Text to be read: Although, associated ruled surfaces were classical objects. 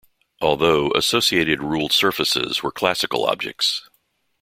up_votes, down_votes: 2, 0